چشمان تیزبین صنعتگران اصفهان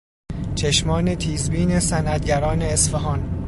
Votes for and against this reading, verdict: 2, 0, accepted